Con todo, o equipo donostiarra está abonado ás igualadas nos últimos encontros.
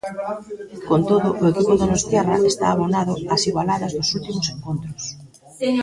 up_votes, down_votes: 0, 2